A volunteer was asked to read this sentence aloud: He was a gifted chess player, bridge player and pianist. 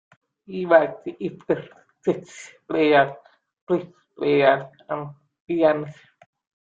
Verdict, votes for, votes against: rejected, 1, 2